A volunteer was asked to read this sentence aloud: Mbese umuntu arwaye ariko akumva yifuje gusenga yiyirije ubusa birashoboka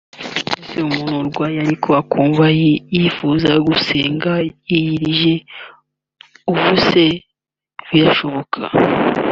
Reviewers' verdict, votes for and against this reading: rejected, 1, 2